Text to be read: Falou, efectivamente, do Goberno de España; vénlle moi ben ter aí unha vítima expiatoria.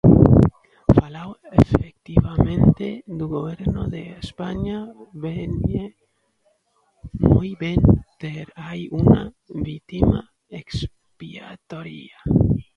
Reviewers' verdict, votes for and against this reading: rejected, 0, 2